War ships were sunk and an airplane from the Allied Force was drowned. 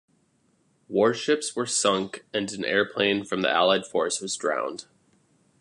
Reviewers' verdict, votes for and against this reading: accepted, 2, 0